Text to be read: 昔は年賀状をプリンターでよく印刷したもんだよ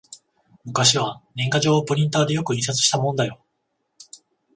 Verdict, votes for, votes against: accepted, 14, 0